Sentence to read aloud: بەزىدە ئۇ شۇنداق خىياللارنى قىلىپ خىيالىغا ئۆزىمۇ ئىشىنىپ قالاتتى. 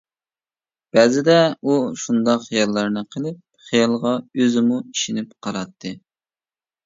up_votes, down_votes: 2, 0